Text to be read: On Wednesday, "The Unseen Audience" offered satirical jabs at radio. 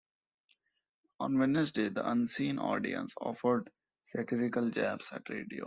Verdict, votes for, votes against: accepted, 2, 0